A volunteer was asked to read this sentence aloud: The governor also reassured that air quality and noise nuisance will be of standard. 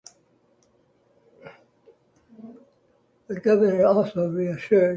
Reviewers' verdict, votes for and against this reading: rejected, 0, 2